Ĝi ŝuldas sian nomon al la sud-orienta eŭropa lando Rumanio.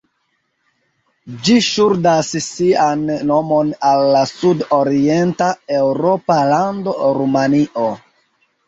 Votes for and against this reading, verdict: 0, 2, rejected